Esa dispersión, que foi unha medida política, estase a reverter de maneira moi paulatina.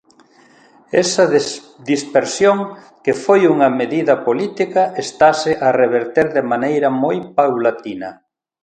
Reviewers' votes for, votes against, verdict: 1, 3, rejected